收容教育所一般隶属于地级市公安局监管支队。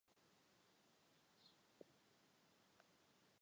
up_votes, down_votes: 0, 2